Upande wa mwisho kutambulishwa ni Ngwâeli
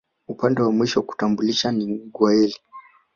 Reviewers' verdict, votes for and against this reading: accepted, 3, 0